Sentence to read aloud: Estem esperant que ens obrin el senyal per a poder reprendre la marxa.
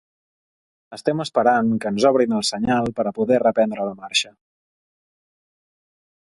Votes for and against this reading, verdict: 4, 0, accepted